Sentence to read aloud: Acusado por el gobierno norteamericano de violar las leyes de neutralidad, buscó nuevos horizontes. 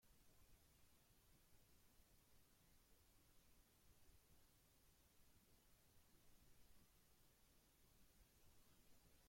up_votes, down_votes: 0, 2